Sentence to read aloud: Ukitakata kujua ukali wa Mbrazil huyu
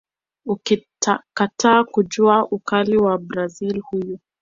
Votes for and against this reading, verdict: 2, 0, accepted